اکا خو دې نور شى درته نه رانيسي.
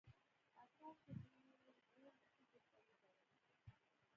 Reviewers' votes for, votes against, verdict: 1, 2, rejected